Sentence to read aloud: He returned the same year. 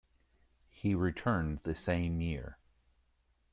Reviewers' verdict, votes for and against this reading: accepted, 2, 0